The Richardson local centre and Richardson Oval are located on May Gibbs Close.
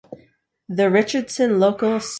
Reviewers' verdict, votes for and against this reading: rejected, 0, 2